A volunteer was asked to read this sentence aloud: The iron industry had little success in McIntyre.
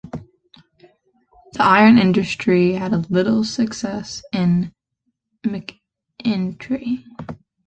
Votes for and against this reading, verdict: 0, 2, rejected